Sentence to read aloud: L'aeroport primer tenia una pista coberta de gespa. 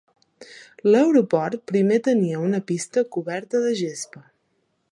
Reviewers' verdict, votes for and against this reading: accepted, 2, 0